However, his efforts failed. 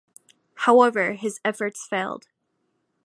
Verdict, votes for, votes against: accepted, 2, 1